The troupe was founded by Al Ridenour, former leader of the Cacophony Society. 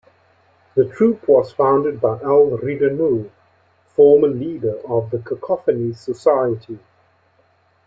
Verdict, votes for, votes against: accepted, 2, 0